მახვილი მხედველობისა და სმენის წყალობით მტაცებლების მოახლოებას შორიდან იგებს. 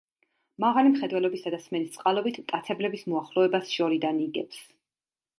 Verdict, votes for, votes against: rejected, 0, 2